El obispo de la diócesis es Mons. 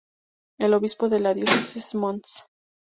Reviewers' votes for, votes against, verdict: 2, 0, accepted